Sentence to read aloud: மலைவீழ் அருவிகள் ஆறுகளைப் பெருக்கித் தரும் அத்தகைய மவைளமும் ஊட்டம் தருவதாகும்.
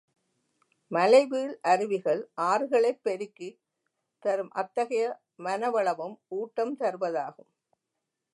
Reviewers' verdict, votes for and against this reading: rejected, 1, 2